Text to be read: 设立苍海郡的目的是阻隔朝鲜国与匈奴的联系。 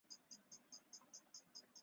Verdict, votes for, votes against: rejected, 0, 2